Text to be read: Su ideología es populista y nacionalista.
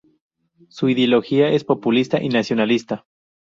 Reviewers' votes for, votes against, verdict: 0, 2, rejected